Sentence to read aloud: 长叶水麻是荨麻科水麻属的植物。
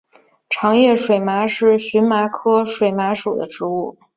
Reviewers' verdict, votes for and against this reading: accepted, 4, 0